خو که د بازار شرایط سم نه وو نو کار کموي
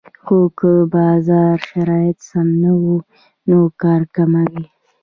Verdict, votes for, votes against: rejected, 0, 2